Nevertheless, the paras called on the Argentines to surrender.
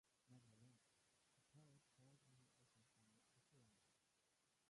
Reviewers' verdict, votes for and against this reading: rejected, 0, 2